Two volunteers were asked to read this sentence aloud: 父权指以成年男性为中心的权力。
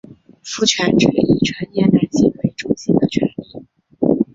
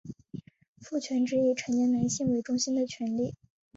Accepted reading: second